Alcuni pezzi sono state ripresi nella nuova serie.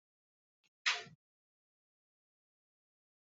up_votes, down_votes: 0, 2